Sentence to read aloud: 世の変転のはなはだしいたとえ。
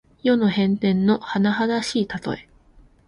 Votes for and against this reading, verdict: 2, 0, accepted